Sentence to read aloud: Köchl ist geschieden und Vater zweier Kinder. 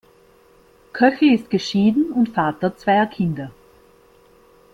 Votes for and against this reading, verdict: 2, 0, accepted